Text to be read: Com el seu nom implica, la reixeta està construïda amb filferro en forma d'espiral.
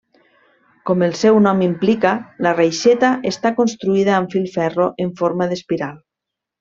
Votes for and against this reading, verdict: 3, 0, accepted